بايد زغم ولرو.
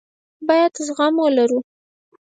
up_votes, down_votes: 4, 0